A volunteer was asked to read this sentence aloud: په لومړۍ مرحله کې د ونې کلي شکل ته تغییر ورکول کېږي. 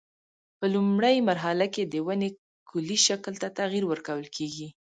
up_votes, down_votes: 2, 0